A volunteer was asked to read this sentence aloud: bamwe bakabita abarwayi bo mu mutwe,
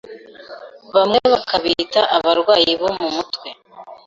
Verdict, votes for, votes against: accepted, 2, 0